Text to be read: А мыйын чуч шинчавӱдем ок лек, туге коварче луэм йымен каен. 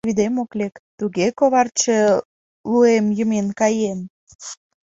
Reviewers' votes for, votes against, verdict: 1, 3, rejected